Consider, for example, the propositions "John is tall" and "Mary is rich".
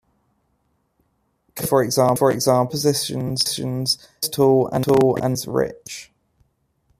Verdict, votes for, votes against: rejected, 0, 2